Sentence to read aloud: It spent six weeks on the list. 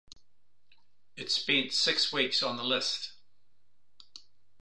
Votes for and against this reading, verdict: 2, 0, accepted